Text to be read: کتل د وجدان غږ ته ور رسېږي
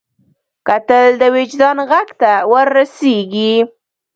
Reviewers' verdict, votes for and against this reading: rejected, 0, 2